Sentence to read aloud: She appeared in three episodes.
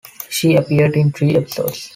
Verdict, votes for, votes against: accepted, 2, 1